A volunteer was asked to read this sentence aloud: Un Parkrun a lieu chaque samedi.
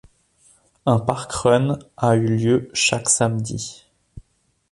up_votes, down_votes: 1, 2